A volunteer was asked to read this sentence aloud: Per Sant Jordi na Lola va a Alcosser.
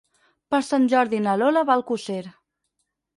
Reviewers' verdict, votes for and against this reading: rejected, 2, 4